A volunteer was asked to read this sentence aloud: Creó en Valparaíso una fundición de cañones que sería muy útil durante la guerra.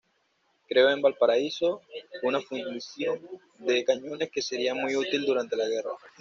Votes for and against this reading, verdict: 2, 0, accepted